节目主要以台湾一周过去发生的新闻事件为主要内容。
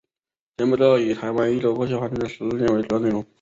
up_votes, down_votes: 1, 2